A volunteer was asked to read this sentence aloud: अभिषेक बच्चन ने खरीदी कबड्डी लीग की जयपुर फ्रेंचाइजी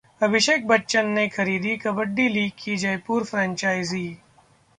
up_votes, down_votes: 0, 2